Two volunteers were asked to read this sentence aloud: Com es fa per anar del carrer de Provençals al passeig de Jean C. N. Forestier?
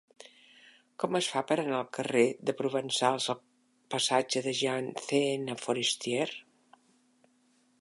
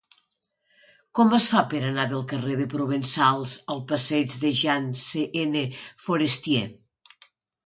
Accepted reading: second